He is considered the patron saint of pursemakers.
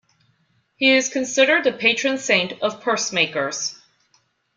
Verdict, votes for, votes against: accepted, 2, 0